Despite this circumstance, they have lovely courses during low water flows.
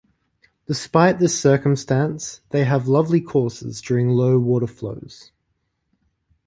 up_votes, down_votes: 2, 0